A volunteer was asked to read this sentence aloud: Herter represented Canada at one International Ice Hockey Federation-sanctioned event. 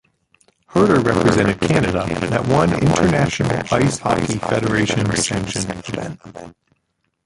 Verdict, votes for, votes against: rejected, 0, 2